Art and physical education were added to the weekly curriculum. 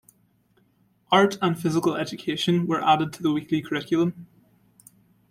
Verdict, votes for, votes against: accepted, 3, 0